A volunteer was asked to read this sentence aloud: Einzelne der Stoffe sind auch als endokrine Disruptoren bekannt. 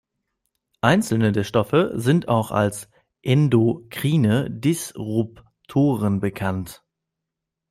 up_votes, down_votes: 1, 2